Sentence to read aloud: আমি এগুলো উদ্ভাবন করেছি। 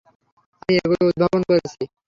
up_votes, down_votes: 0, 3